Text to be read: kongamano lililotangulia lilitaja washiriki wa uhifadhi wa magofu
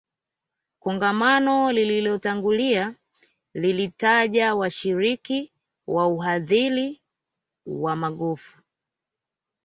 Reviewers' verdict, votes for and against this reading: rejected, 1, 2